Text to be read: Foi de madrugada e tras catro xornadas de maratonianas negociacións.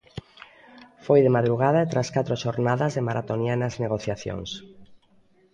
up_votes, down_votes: 2, 0